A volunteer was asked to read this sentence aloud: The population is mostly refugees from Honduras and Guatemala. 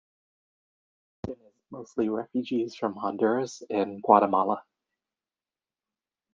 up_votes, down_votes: 0, 2